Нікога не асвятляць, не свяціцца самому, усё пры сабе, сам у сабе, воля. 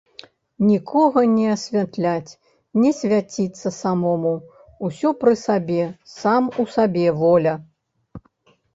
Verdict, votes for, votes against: accepted, 2, 0